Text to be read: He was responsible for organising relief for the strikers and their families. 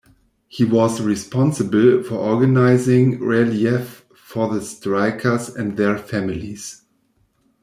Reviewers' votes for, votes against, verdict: 0, 2, rejected